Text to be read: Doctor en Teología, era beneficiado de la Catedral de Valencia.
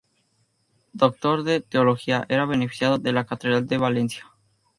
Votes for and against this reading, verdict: 0, 2, rejected